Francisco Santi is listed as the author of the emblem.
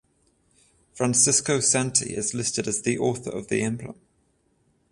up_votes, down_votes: 14, 0